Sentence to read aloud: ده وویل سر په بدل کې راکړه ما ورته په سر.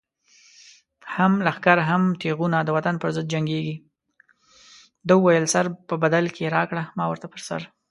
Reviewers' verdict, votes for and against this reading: rejected, 1, 2